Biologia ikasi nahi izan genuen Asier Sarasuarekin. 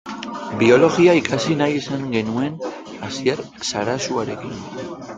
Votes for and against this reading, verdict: 1, 2, rejected